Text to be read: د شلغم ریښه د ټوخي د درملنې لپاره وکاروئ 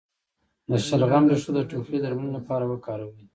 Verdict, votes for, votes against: rejected, 0, 2